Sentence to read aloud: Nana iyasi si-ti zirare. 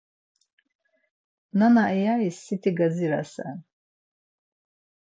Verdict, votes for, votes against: rejected, 0, 4